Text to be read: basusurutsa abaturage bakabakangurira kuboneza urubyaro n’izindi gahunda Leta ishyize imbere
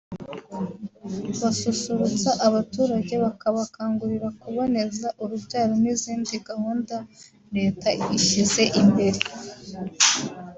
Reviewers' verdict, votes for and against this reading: accepted, 2, 1